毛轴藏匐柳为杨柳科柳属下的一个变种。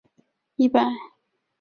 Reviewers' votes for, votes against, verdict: 0, 3, rejected